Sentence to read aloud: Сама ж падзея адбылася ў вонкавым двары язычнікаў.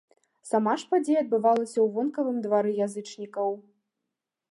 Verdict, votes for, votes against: rejected, 0, 2